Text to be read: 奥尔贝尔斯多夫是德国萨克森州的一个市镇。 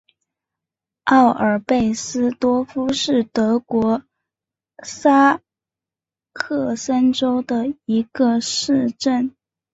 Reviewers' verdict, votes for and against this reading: accepted, 2, 1